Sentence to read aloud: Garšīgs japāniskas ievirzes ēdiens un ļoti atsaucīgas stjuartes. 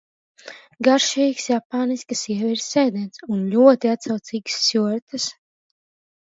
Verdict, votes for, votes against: accepted, 2, 0